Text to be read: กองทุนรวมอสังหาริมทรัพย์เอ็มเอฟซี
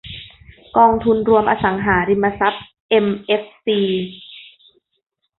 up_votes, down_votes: 0, 2